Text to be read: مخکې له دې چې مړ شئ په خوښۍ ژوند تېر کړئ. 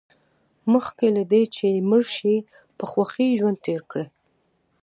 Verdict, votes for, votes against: accepted, 2, 0